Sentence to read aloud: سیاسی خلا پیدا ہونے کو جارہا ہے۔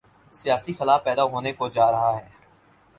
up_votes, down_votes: 6, 0